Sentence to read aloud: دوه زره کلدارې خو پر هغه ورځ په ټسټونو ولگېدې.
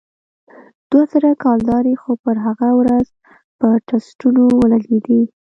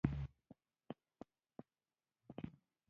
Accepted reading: first